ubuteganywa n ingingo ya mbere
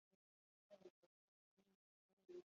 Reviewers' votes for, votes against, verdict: 1, 2, rejected